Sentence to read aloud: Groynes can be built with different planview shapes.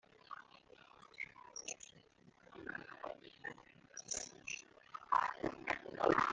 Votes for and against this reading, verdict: 1, 2, rejected